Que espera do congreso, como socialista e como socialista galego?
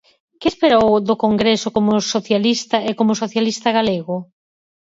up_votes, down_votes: 2, 4